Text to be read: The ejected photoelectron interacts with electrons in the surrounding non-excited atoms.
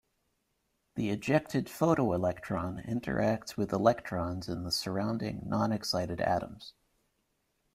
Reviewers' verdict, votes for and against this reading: accepted, 2, 0